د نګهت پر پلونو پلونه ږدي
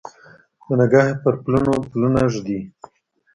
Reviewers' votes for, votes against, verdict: 0, 2, rejected